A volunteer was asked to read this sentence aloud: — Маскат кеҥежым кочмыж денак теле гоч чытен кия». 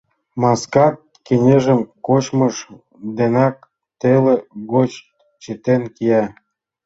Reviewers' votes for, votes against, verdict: 2, 1, accepted